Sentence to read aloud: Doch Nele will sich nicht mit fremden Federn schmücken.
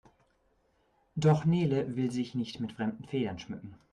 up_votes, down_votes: 1, 2